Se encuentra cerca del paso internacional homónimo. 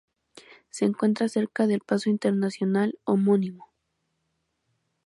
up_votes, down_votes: 4, 0